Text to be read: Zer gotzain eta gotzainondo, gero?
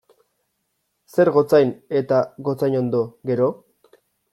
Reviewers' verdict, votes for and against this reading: accepted, 2, 0